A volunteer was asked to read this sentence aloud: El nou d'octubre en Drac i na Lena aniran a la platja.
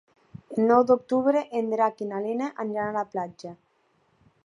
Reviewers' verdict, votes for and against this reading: accepted, 3, 0